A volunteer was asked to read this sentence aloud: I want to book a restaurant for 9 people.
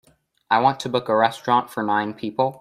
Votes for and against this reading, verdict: 0, 2, rejected